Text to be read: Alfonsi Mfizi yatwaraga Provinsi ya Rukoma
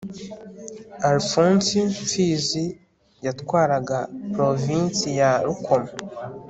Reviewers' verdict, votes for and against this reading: accepted, 2, 0